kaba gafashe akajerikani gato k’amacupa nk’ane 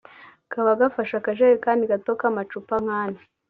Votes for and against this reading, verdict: 2, 0, accepted